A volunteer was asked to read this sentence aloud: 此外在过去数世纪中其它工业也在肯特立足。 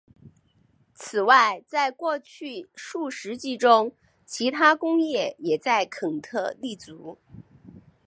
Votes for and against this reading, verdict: 2, 0, accepted